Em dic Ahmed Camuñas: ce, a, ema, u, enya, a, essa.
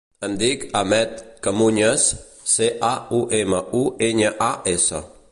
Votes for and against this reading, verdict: 1, 2, rejected